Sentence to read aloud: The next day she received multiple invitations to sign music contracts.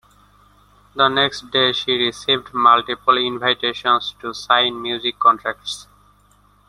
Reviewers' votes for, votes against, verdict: 2, 0, accepted